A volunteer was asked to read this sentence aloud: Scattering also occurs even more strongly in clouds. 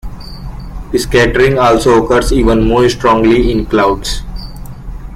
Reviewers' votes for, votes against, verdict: 0, 2, rejected